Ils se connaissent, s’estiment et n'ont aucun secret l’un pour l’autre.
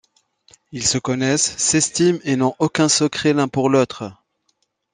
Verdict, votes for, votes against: accepted, 2, 0